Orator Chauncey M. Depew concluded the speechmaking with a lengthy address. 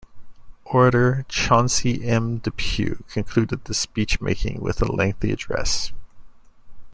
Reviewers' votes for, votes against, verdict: 2, 0, accepted